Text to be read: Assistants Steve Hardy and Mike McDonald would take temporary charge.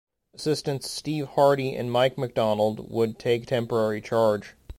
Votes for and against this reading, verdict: 0, 2, rejected